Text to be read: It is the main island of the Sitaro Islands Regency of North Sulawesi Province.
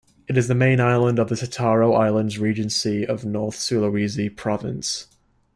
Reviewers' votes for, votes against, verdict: 2, 0, accepted